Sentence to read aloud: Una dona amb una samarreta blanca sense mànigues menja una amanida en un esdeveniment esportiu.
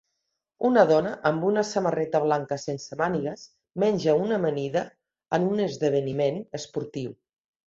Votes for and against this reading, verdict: 2, 0, accepted